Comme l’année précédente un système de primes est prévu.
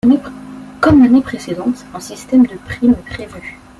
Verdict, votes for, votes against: accepted, 2, 0